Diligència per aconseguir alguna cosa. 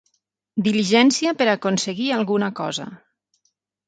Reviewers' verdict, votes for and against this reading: accepted, 6, 0